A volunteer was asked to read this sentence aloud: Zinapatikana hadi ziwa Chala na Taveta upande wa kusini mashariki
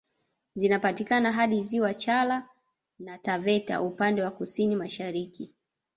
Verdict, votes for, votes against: rejected, 1, 2